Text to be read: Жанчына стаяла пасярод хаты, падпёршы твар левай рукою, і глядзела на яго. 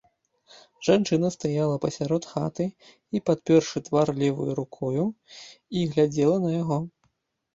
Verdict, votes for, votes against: rejected, 0, 4